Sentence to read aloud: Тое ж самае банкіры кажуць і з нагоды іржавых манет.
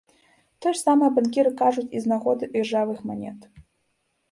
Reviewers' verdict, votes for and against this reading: accepted, 2, 0